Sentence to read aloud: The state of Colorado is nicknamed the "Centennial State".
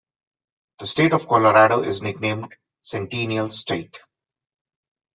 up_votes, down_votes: 0, 2